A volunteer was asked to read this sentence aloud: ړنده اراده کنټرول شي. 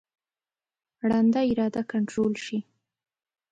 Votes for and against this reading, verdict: 2, 0, accepted